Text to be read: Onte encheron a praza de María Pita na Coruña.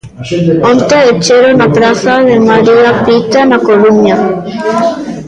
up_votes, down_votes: 0, 2